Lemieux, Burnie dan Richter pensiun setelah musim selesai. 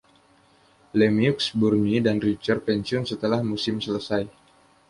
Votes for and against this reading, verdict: 2, 0, accepted